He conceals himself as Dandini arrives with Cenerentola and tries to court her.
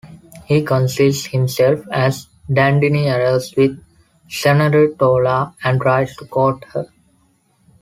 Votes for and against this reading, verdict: 2, 0, accepted